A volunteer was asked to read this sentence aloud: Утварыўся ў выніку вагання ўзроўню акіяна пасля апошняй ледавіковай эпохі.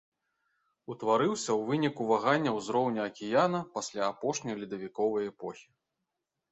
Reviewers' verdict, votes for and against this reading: accepted, 2, 0